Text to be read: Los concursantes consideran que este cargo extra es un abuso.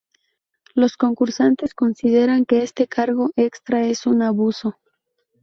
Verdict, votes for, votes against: rejected, 0, 2